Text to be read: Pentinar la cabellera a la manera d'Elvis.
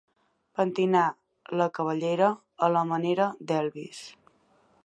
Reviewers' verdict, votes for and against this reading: accepted, 2, 0